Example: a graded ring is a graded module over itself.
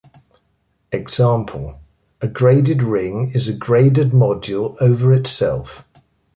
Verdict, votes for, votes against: accepted, 2, 0